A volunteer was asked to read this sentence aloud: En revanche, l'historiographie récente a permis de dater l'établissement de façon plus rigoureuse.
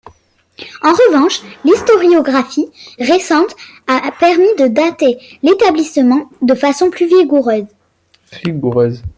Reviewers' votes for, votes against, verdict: 0, 2, rejected